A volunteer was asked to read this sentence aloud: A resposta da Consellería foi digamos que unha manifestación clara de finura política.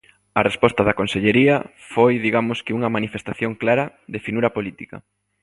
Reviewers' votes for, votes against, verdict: 2, 0, accepted